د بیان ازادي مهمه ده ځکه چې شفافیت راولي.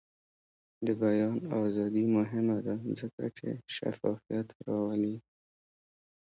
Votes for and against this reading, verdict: 1, 2, rejected